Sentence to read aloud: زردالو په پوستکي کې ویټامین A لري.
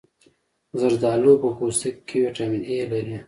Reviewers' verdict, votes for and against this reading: accepted, 2, 0